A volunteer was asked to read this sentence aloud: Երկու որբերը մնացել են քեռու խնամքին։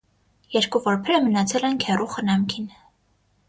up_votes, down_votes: 6, 0